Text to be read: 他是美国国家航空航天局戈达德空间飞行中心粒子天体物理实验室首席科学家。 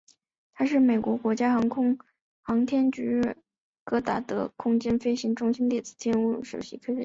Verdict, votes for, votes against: rejected, 0, 2